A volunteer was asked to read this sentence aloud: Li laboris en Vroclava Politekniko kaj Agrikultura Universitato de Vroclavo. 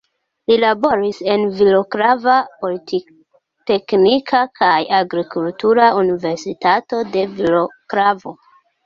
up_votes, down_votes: 1, 2